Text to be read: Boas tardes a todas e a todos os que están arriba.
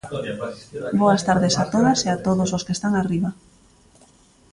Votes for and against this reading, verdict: 2, 1, accepted